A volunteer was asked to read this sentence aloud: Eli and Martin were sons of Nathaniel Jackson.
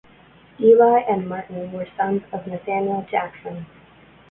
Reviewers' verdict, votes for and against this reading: accepted, 2, 0